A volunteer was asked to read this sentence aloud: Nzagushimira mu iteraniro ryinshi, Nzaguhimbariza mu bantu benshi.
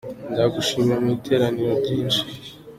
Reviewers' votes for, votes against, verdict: 0, 2, rejected